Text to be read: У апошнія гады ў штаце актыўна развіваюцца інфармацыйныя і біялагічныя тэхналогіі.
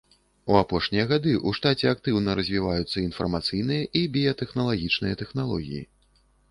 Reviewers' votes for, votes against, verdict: 1, 2, rejected